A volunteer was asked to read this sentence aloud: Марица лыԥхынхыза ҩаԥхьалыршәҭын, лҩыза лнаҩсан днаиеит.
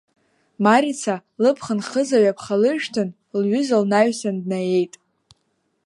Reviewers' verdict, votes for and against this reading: accepted, 2, 1